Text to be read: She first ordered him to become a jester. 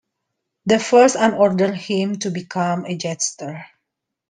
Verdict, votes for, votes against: rejected, 0, 2